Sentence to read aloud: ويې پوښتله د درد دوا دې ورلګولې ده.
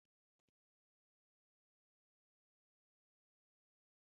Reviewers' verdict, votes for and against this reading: rejected, 1, 2